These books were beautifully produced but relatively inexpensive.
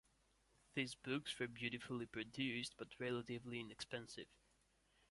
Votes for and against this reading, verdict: 1, 2, rejected